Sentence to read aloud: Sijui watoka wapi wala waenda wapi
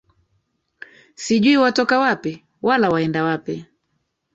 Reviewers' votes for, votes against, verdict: 1, 2, rejected